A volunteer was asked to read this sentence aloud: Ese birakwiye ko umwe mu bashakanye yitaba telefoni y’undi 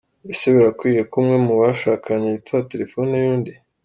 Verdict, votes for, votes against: accepted, 2, 0